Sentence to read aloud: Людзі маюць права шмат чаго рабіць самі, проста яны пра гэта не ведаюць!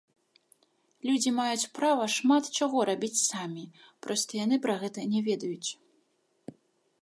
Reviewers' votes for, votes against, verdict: 2, 3, rejected